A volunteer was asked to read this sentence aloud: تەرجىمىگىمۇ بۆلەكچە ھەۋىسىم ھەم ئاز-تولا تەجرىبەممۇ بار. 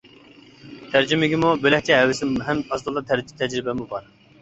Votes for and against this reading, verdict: 0, 2, rejected